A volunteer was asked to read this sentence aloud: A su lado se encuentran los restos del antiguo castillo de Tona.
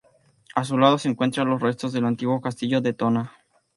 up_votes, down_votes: 2, 0